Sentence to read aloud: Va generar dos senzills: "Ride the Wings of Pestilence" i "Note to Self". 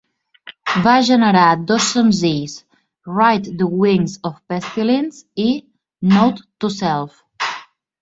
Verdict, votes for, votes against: accepted, 2, 0